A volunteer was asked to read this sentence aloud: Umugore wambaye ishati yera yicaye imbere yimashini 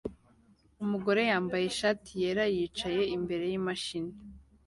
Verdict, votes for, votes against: accepted, 2, 1